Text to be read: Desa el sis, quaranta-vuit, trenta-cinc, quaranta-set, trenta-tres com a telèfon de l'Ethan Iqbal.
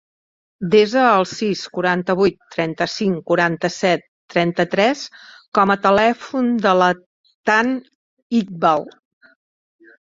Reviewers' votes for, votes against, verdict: 1, 2, rejected